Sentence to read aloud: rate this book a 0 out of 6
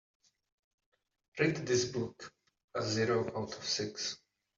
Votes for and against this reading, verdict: 0, 2, rejected